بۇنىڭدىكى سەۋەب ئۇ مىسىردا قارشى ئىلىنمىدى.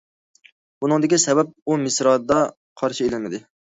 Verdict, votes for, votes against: rejected, 0, 2